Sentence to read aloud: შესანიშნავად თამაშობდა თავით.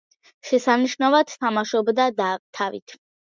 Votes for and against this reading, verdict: 0, 2, rejected